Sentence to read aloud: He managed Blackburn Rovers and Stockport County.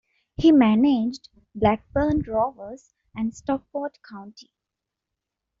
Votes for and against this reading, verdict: 2, 0, accepted